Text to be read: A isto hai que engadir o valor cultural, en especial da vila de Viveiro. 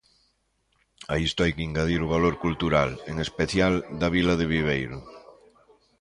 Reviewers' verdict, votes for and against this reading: rejected, 1, 2